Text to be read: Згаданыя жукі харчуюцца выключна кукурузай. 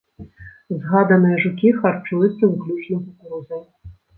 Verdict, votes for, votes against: rejected, 0, 2